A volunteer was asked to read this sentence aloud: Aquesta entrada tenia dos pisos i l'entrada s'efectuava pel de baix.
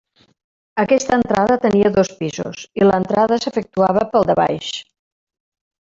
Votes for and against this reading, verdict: 1, 2, rejected